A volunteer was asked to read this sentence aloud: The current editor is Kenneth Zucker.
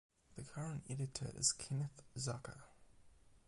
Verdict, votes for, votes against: accepted, 8, 0